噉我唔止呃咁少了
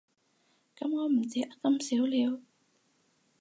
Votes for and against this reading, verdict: 0, 4, rejected